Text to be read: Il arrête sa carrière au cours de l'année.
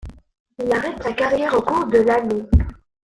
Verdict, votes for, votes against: rejected, 1, 2